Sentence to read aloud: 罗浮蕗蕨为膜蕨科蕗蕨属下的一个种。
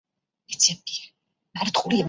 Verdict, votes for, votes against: rejected, 0, 3